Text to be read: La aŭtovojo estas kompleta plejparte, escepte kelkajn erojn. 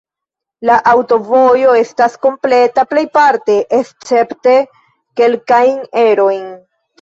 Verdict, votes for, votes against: rejected, 1, 2